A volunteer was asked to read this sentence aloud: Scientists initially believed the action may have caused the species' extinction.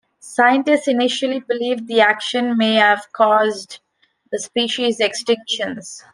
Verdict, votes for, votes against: rejected, 1, 2